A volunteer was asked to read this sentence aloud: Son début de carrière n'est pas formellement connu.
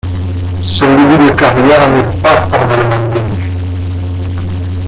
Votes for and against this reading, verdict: 0, 2, rejected